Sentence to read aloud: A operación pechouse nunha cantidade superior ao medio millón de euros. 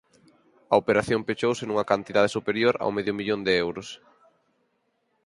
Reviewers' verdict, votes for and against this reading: accepted, 4, 0